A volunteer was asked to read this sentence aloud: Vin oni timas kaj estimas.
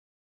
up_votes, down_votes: 2, 1